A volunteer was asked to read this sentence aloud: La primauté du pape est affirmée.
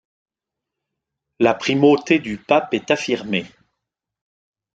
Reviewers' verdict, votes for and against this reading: accepted, 2, 0